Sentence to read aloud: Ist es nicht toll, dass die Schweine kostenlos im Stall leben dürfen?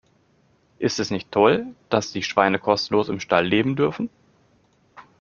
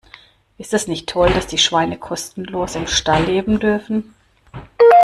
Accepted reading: first